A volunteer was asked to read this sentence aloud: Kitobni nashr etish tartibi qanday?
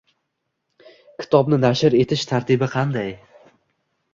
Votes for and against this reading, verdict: 2, 0, accepted